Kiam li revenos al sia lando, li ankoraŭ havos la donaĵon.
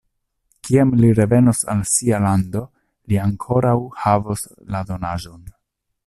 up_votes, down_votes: 2, 0